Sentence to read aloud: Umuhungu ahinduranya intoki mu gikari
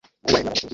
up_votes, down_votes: 0, 2